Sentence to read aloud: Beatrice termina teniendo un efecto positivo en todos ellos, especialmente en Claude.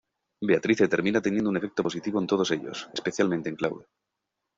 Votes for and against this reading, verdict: 0, 2, rejected